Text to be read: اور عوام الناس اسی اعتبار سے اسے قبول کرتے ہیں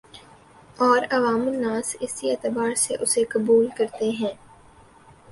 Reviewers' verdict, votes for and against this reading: accepted, 4, 0